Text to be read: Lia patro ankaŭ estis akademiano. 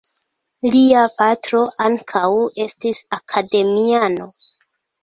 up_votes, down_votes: 2, 1